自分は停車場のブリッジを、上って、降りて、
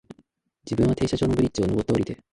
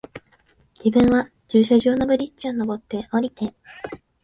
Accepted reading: first